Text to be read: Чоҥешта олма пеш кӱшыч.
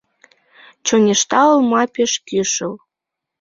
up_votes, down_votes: 0, 2